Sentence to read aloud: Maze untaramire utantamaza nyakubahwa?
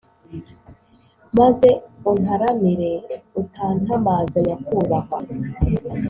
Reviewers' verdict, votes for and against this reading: accepted, 2, 0